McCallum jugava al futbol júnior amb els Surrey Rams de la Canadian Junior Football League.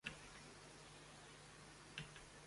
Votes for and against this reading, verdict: 0, 2, rejected